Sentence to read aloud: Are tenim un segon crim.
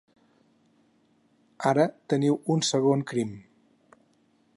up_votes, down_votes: 2, 4